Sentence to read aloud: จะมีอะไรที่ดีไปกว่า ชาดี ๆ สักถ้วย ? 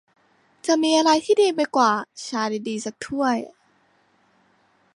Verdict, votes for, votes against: accepted, 2, 1